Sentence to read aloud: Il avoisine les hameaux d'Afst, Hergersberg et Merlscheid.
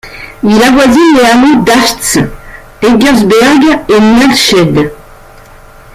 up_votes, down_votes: 0, 2